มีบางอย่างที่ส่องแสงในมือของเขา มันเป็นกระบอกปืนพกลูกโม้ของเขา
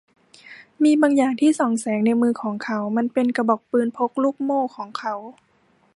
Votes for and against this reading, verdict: 0, 2, rejected